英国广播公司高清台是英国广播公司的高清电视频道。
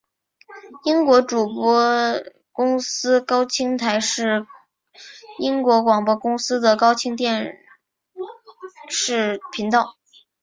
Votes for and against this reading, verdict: 0, 2, rejected